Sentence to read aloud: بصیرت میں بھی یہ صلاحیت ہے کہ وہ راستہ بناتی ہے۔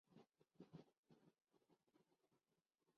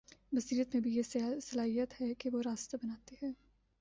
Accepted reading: second